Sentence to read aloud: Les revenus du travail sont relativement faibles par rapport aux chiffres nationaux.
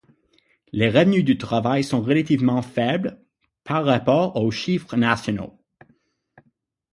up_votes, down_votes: 6, 0